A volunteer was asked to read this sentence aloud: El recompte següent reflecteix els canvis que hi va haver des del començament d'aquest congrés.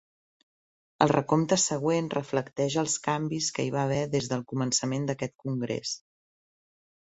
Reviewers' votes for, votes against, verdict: 3, 0, accepted